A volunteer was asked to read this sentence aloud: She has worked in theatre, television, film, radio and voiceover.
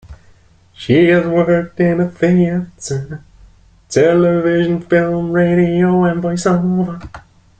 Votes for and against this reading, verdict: 1, 2, rejected